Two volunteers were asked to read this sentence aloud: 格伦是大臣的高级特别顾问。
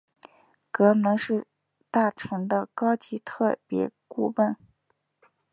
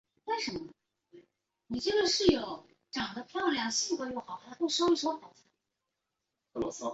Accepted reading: first